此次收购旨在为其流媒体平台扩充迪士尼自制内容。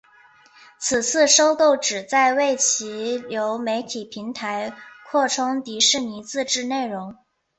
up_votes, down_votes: 2, 0